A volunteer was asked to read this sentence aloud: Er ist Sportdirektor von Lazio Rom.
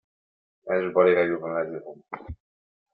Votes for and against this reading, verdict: 0, 2, rejected